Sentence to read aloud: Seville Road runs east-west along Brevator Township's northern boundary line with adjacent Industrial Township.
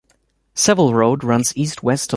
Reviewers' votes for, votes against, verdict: 0, 2, rejected